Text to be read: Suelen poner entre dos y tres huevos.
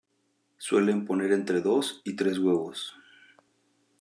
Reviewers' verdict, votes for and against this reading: rejected, 0, 2